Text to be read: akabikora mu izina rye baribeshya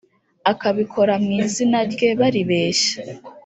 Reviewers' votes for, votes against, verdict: 2, 0, accepted